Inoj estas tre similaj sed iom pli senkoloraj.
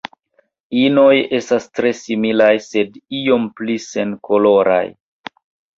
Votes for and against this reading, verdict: 2, 1, accepted